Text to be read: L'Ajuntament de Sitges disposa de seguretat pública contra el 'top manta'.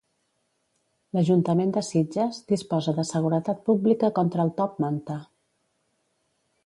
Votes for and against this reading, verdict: 3, 0, accepted